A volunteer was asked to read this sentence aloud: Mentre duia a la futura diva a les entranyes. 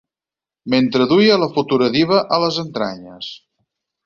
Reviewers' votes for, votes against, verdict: 4, 0, accepted